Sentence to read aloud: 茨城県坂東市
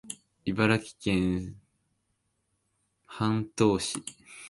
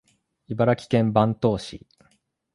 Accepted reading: second